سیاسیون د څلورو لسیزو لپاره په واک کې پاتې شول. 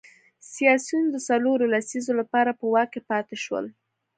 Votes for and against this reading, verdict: 2, 0, accepted